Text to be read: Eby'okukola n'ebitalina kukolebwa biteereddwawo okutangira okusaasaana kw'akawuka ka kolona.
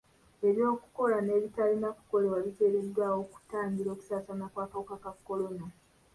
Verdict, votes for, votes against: rejected, 1, 2